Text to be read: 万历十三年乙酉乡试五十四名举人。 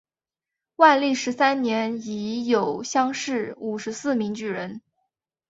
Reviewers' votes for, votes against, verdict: 2, 0, accepted